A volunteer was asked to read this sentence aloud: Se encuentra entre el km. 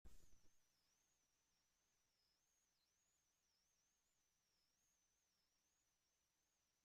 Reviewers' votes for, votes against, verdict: 0, 2, rejected